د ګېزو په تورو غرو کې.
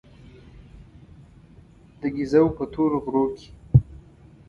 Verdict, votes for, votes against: rejected, 1, 2